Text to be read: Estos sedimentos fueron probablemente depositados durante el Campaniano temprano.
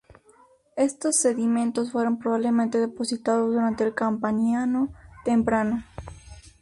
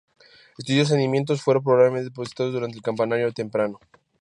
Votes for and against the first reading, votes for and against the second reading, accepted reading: 2, 0, 0, 6, first